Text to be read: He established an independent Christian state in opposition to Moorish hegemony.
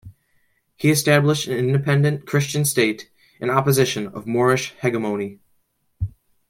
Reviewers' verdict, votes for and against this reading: accepted, 2, 0